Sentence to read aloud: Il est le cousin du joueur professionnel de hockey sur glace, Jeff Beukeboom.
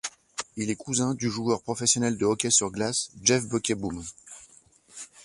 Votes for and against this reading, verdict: 1, 2, rejected